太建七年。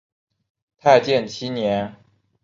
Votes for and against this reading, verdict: 2, 0, accepted